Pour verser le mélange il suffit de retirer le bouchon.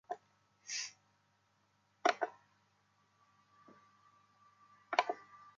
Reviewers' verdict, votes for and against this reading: rejected, 0, 2